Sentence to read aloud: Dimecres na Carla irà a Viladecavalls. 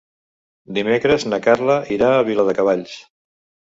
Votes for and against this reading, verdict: 2, 0, accepted